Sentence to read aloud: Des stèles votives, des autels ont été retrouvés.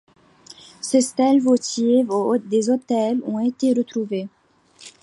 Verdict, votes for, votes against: rejected, 1, 2